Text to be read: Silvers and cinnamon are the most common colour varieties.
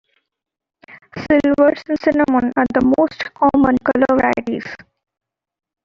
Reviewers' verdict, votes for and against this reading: accepted, 2, 0